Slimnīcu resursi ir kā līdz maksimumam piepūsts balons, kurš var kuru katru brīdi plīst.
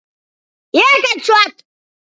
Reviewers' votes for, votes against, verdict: 0, 2, rejected